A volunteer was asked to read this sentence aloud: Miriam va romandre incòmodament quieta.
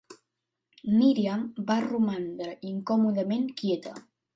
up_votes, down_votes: 2, 0